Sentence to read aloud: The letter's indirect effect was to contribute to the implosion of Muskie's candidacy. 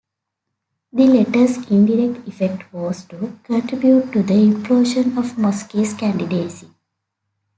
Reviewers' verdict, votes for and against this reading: accepted, 2, 0